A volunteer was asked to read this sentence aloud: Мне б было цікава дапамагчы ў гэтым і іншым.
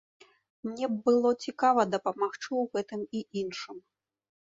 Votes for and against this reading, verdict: 2, 0, accepted